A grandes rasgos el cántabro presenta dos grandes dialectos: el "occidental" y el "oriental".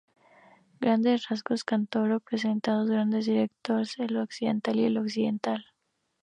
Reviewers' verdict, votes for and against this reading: rejected, 0, 2